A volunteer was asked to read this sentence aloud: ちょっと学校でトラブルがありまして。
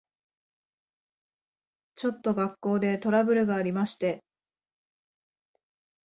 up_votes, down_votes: 3, 0